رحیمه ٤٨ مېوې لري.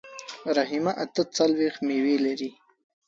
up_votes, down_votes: 0, 2